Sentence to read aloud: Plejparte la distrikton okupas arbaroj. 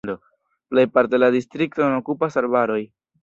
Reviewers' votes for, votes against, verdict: 1, 2, rejected